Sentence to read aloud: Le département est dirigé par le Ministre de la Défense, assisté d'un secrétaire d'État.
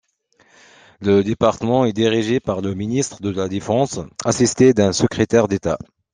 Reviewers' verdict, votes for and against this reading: accepted, 2, 0